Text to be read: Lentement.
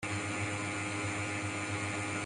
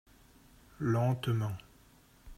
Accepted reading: second